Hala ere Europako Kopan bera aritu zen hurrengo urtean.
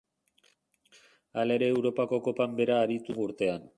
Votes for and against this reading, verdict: 0, 2, rejected